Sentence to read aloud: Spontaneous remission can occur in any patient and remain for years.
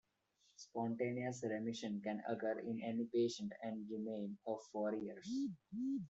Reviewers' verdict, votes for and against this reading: rejected, 0, 2